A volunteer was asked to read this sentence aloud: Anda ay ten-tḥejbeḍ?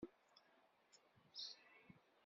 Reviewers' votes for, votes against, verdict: 1, 2, rejected